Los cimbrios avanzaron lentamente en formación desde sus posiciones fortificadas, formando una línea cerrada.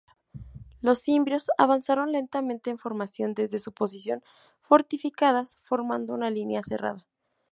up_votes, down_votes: 2, 0